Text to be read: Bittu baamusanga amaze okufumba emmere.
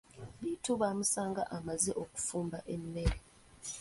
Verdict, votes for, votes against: rejected, 1, 2